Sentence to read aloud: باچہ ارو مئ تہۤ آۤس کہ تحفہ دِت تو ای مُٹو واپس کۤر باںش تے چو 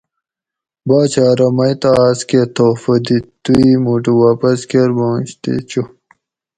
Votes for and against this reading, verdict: 2, 0, accepted